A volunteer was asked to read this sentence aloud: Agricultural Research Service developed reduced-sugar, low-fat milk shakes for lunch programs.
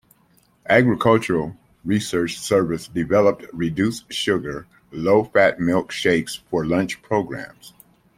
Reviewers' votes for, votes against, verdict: 2, 0, accepted